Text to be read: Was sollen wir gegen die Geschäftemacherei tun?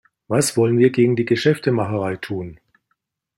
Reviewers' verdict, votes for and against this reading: rejected, 1, 2